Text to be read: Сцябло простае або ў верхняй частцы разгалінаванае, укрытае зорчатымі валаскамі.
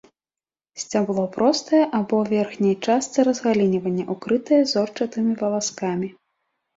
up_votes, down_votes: 1, 2